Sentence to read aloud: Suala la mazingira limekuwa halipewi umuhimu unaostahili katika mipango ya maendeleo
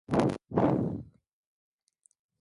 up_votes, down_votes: 0, 7